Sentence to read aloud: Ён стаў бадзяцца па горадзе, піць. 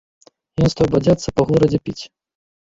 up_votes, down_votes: 1, 3